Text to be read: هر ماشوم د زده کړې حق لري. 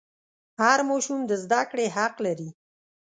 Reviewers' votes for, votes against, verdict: 2, 0, accepted